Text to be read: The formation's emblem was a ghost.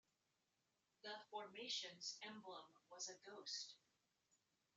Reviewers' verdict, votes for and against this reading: rejected, 0, 2